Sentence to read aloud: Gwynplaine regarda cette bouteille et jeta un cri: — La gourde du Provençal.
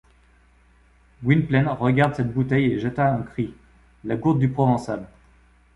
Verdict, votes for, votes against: rejected, 1, 2